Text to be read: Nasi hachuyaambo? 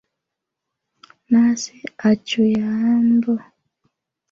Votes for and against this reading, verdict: 1, 2, rejected